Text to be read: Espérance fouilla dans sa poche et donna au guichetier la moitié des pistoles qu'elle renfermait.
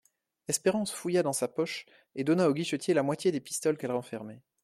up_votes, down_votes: 2, 0